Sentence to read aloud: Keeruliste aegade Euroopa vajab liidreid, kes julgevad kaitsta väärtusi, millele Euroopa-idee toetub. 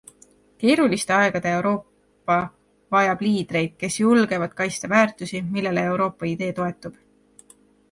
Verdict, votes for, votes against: accepted, 2, 0